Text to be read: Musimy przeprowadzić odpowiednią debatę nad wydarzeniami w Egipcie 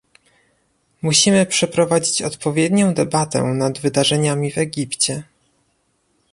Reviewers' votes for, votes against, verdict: 2, 0, accepted